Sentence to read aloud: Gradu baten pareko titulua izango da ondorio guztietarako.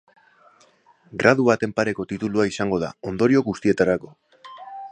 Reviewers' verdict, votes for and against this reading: accepted, 3, 0